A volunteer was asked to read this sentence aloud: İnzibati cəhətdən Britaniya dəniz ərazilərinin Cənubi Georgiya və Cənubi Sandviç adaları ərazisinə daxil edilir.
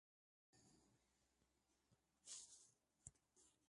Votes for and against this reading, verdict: 0, 2, rejected